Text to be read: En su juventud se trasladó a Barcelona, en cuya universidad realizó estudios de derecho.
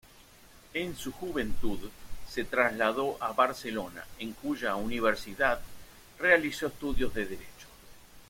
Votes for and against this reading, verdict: 2, 0, accepted